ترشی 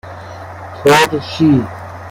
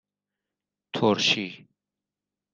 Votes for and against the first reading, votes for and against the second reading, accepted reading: 0, 2, 2, 0, second